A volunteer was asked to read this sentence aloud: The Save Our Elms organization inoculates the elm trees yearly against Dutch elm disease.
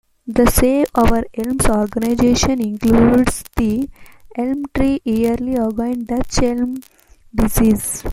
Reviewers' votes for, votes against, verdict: 0, 2, rejected